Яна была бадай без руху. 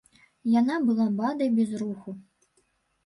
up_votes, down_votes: 0, 2